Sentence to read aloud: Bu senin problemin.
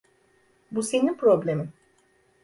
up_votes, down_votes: 2, 0